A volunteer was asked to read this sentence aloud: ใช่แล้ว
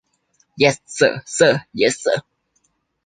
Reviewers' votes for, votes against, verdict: 0, 2, rejected